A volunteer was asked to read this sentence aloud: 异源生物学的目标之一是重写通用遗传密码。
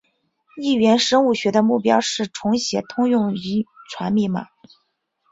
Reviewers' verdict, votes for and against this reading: rejected, 0, 4